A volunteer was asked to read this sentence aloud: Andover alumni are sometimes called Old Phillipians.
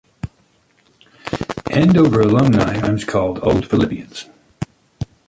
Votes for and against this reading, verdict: 0, 2, rejected